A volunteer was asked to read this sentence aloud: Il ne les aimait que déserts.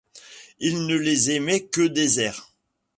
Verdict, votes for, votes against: accepted, 2, 0